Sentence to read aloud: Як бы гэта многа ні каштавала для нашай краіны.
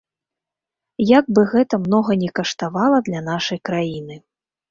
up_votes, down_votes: 2, 0